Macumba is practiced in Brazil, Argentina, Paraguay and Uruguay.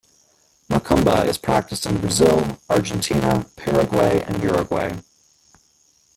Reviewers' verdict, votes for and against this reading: rejected, 1, 2